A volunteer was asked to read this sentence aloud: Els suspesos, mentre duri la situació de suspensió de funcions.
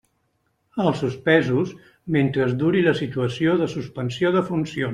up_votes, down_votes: 1, 2